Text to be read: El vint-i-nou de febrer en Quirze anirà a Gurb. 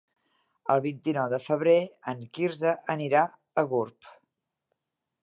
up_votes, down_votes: 4, 0